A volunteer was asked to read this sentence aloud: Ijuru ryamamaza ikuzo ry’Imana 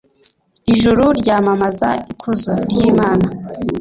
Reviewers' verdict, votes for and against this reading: accepted, 2, 1